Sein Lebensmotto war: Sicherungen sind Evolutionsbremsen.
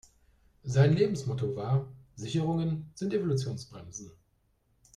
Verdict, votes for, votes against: accepted, 2, 0